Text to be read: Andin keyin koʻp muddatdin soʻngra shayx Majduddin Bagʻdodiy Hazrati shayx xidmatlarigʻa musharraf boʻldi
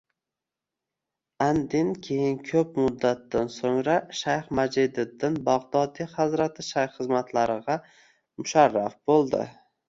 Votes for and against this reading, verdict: 1, 2, rejected